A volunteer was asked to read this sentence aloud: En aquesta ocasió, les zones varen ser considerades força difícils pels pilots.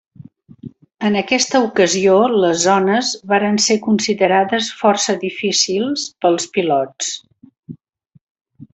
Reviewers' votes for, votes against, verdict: 3, 0, accepted